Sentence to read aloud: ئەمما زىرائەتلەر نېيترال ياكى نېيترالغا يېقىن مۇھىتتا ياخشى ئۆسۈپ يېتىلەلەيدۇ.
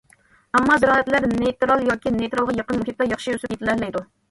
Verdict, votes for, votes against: rejected, 1, 2